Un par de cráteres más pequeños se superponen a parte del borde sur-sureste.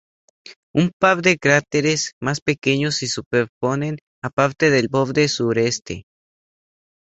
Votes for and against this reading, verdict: 0, 2, rejected